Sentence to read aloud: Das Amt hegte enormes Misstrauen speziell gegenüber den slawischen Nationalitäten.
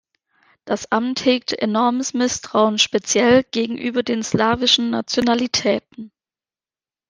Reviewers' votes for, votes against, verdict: 0, 2, rejected